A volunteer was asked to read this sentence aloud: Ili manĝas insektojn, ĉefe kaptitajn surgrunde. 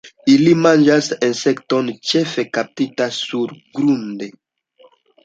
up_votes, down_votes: 1, 2